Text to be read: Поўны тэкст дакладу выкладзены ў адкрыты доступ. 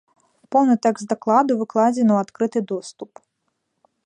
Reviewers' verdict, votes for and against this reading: rejected, 1, 2